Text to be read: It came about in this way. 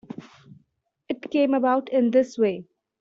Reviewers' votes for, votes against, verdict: 2, 0, accepted